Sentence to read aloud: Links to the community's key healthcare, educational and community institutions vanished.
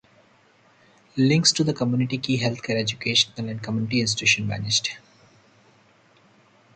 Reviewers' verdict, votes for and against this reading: rejected, 0, 2